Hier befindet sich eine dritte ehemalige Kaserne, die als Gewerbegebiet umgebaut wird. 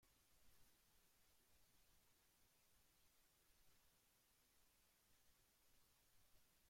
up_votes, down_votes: 0, 2